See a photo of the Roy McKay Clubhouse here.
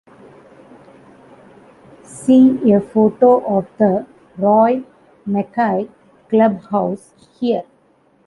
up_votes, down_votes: 2, 1